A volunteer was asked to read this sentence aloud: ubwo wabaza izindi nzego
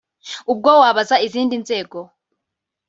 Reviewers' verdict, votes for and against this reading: accepted, 2, 0